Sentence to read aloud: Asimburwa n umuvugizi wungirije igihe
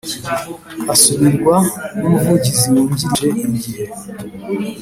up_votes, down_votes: 2, 0